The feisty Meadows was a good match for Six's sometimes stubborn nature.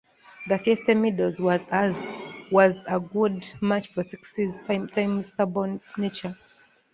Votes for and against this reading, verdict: 1, 2, rejected